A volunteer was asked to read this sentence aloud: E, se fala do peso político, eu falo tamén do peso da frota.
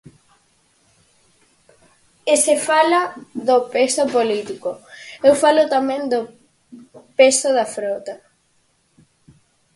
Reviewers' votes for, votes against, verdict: 4, 0, accepted